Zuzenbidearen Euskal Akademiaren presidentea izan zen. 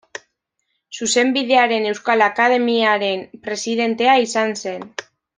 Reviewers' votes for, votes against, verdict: 2, 0, accepted